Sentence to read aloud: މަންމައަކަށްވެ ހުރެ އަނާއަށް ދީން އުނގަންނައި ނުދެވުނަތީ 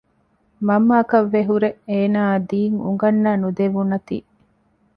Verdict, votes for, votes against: rejected, 0, 2